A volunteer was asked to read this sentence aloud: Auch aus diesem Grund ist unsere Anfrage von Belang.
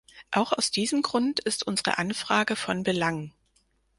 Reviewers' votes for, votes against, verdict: 4, 0, accepted